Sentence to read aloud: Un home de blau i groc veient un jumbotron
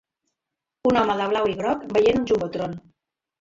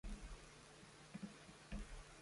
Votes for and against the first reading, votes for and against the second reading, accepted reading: 3, 0, 0, 2, first